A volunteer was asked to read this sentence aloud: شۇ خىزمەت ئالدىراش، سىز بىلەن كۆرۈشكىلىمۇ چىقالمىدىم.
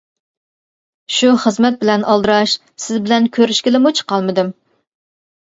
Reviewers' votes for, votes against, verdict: 0, 2, rejected